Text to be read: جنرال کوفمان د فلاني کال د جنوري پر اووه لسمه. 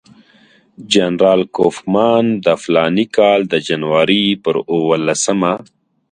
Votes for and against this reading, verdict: 2, 0, accepted